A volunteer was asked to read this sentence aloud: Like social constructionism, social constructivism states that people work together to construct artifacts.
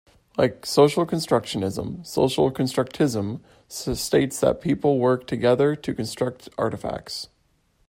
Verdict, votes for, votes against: rejected, 1, 2